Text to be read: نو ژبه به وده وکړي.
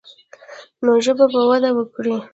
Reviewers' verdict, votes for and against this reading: rejected, 1, 2